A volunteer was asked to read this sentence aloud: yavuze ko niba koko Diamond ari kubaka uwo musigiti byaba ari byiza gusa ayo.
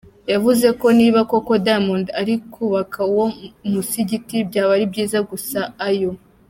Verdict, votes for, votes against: accepted, 2, 0